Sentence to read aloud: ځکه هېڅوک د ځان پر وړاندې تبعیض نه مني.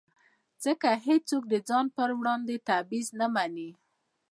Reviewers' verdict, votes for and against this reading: rejected, 1, 2